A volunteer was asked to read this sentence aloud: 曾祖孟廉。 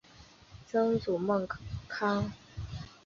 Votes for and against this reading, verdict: 2, 4, rejected